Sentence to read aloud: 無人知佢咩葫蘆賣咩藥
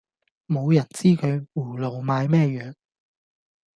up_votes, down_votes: 0, 2